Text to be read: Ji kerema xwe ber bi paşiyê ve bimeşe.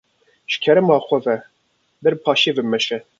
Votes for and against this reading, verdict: 2, 0, accepted